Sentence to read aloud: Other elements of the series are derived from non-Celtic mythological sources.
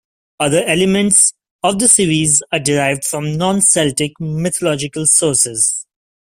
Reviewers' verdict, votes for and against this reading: rejected, 1, 2